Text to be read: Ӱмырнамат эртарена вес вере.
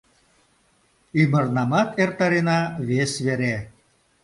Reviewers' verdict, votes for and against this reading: accepted, 2, 0